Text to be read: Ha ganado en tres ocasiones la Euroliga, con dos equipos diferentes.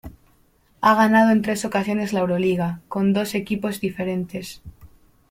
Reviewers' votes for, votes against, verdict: 1, 2, rejected